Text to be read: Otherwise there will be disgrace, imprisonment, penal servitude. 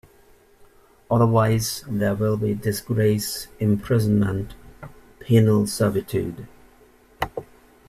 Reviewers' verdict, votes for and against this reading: accepted, 2, 0